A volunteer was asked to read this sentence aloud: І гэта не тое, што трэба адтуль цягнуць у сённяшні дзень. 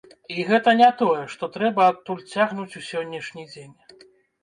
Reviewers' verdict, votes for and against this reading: rejected, 1, 2